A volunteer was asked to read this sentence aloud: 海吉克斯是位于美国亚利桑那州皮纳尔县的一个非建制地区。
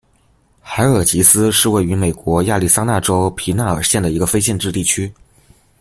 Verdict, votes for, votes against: rejected, 1, 2